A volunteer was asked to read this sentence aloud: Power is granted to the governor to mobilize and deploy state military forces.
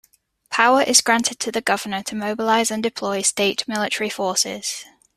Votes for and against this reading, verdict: 2, 0, accepted